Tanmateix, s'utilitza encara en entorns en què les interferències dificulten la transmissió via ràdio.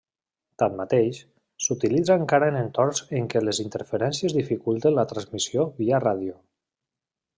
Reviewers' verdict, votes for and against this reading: accepted, 3, 0